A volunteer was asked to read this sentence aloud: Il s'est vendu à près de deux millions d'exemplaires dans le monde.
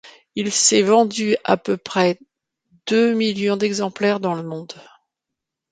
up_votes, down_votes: 0, 2